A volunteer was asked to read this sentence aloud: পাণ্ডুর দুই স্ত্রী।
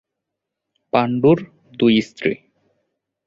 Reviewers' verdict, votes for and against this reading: accepted, 2, 0